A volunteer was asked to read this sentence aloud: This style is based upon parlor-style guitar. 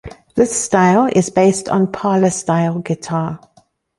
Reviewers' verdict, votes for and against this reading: rejected, 1, 3